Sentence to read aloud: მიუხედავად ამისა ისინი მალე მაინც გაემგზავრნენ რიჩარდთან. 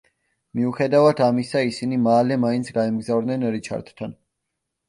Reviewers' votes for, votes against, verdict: 2, 0, accepted